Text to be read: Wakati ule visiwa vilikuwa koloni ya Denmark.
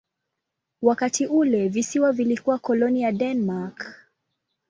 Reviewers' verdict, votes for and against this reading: accepted, 2, 0